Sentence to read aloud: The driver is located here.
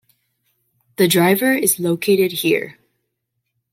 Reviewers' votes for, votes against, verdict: 2, 0, accepted